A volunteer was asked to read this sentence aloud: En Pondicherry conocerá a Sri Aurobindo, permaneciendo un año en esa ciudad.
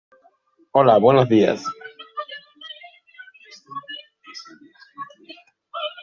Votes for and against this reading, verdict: 1, 2, rejected